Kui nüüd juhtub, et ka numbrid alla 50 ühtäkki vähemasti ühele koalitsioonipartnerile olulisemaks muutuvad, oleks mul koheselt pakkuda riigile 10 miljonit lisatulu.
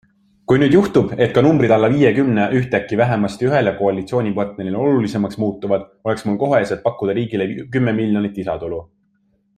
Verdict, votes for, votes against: rejected, 0, 2